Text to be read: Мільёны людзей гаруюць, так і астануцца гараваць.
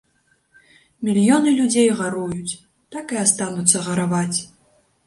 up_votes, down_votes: 2, 0